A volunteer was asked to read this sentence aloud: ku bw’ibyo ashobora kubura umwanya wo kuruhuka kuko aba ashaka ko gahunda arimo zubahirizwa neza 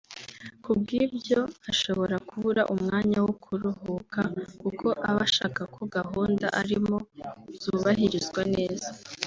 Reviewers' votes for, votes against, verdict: 2, 0, accepted